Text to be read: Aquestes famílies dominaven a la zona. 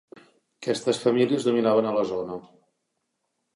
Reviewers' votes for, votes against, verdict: 2, 1, accepted